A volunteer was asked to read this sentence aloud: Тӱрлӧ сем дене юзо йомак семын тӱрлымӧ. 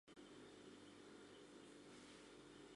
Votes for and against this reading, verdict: 1, 2, rejected